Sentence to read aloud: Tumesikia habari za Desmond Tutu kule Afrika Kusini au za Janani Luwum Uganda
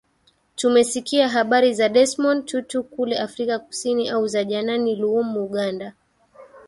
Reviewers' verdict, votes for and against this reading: accepted, 2, 0